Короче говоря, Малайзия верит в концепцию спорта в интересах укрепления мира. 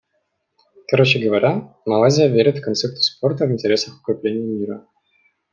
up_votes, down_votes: 2, 0